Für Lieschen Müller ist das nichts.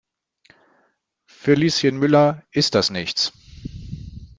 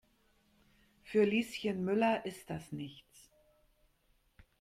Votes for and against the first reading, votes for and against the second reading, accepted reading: 0, 2, 2, 0, second